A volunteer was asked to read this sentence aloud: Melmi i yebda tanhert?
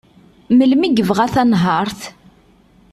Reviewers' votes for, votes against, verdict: 1, 2, rejected